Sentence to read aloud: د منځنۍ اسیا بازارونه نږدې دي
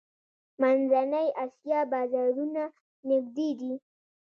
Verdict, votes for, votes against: accepted, 2, 0